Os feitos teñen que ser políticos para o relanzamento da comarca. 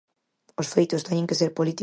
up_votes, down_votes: 0, 4